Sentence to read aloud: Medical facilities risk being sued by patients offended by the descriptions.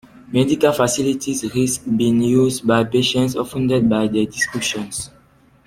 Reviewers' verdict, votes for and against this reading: rejected, 1, 2